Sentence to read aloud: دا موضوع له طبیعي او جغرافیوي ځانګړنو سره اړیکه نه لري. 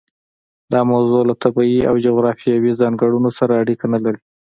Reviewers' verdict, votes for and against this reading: accepted, 2, 0